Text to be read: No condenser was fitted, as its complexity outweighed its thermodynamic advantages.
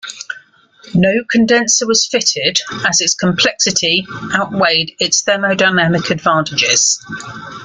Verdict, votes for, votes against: accepted, 2, 0